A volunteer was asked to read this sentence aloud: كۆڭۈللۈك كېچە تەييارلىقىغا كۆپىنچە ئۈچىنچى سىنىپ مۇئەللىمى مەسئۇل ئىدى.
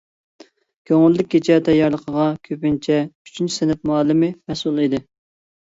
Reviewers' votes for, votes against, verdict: 2, 0, accepted